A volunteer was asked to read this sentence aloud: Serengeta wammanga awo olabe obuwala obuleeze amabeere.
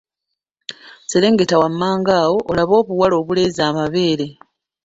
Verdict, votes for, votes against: accepted, 2, 1